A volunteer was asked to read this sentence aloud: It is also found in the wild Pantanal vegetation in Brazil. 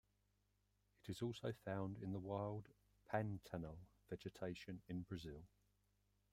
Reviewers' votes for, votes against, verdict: 2, 1, accepted